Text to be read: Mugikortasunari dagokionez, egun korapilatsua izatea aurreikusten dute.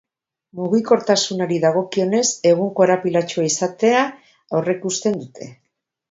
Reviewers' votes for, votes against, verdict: 2, 0, accepted